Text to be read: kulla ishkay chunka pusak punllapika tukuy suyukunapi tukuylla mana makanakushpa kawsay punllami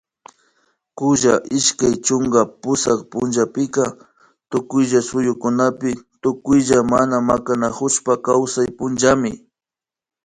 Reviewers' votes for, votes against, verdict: 1, 2, rejected